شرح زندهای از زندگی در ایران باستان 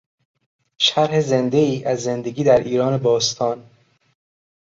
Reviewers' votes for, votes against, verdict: 2, 0, accepted